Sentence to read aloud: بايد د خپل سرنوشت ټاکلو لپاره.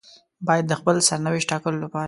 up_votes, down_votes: 2, 0